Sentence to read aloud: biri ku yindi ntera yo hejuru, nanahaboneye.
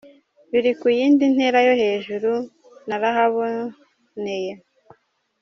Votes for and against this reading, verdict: 2, 1, accepted